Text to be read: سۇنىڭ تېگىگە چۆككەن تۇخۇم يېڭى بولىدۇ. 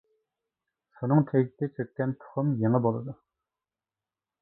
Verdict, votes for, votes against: rejected, 0, 2